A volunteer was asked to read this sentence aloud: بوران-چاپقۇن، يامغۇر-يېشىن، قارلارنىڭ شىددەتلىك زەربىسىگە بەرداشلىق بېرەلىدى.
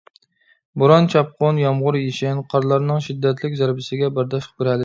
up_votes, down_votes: 1, 2